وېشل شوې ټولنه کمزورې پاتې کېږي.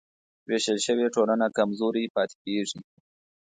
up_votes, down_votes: 2, 0